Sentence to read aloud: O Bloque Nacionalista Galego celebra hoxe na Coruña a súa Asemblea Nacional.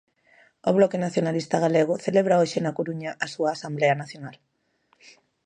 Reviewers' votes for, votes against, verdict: 0, 2, rejected